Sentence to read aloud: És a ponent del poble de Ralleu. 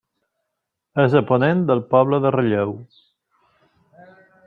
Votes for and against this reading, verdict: 2, 0, accepted